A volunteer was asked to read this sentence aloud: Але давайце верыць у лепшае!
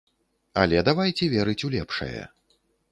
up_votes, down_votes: 2, 0